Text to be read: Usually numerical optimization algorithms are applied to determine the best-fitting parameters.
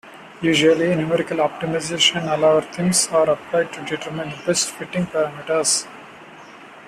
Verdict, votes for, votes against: rejected, 1, 2